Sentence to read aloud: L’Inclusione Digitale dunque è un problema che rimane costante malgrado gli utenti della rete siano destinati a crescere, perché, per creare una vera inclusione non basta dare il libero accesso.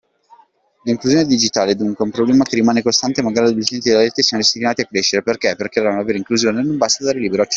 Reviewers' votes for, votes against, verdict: 0, 2, rejected